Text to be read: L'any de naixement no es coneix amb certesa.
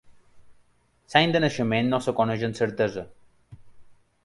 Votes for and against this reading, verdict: 1, 2, rejected